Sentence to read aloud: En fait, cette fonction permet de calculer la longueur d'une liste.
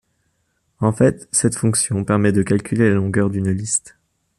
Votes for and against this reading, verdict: 2, 0, accepted